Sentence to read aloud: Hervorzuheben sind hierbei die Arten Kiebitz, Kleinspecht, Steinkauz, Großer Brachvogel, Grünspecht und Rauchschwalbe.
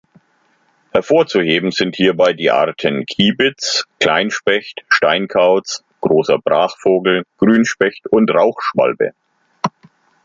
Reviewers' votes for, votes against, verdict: 2, 0, accepted